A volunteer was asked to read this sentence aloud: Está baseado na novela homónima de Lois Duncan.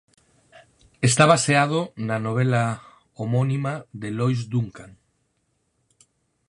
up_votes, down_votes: 4, 0